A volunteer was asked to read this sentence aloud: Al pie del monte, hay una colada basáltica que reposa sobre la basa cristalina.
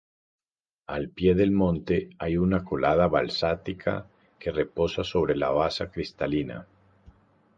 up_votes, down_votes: 0, 4